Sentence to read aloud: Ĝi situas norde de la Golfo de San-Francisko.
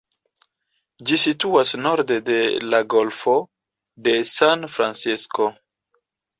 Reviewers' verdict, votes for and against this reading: accepted, 2, 1